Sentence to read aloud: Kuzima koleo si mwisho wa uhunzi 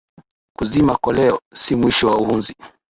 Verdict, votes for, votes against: accepted, 3, 0